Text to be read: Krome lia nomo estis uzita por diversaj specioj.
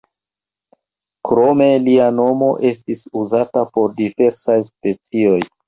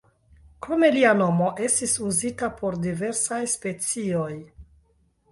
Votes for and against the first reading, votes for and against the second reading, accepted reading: 1, 2, 2, 0, second